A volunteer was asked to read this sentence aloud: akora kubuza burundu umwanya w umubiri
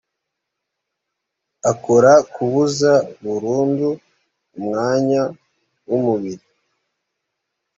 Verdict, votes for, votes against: accepted, 2, 0